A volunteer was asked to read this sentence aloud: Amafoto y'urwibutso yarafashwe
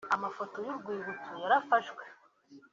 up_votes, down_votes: 2, 1